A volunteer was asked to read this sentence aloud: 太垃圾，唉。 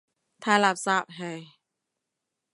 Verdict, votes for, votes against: accepted, 2, 0